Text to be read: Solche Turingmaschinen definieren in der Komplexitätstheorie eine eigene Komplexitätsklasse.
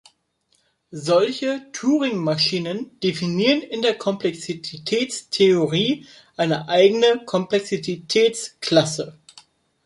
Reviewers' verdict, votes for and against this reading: rejected, 1, 2